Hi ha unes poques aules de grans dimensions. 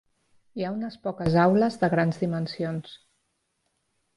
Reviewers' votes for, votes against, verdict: 3, 0, accepted